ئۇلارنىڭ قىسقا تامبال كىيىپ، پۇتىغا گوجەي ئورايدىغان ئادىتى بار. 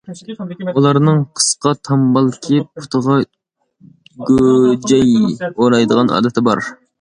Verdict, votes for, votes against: accepted, 2, 0